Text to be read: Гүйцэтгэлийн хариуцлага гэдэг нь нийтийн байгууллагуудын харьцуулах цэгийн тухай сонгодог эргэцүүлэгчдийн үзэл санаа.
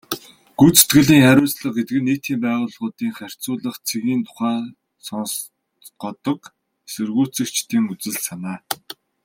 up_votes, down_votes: 0, 2